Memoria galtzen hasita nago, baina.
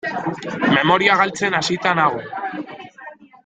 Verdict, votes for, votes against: rejected, 0, 2